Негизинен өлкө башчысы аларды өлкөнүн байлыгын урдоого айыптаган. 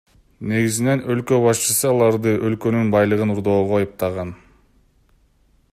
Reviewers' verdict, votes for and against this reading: rejected, 0, 2